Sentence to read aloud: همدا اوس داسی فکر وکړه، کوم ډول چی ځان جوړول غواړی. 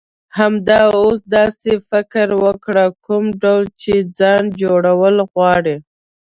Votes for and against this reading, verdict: 1, 2, rejected